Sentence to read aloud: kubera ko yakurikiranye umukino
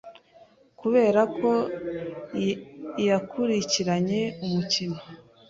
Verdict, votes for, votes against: rejected, 1, 2